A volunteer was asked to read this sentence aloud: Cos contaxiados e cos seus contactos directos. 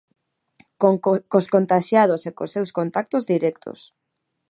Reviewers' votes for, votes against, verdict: 1, 2, rejected